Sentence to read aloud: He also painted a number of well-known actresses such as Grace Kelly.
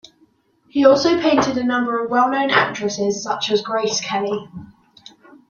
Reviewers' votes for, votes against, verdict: 1, 2, rejected